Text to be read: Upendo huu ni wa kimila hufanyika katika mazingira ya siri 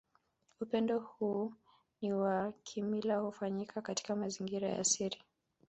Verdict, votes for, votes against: accepted, 2, 1